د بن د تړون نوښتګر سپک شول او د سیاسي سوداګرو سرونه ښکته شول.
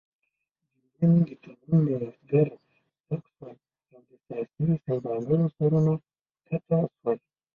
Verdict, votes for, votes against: rejected, 0, 2